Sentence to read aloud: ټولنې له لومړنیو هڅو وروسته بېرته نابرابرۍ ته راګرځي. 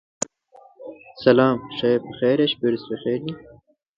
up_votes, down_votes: 0, 2